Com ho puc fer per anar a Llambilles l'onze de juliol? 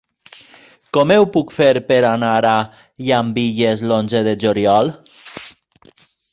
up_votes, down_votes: 0, 2